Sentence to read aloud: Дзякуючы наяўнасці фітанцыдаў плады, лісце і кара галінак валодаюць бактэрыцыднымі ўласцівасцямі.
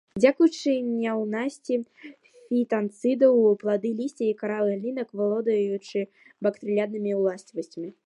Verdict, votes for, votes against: rejected, 1, 2